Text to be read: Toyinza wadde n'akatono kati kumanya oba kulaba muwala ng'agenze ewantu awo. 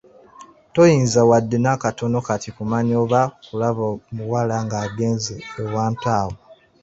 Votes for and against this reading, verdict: 0, 2, rejected